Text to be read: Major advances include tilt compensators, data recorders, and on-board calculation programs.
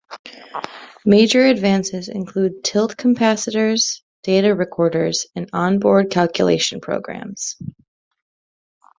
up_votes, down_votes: 1, 2